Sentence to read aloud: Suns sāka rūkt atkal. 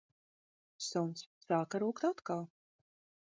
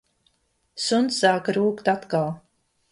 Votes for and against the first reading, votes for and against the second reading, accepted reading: 1, 2, 2, 0, second